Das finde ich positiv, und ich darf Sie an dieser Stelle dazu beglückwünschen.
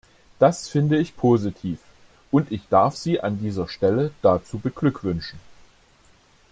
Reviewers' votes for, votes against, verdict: 2, 0, accepted